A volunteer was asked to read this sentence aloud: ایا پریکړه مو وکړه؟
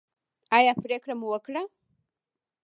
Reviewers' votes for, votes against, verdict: 1, 2, rejected